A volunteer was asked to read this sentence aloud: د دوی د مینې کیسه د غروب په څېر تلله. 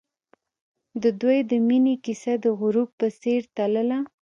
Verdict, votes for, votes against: rejected, 1, 2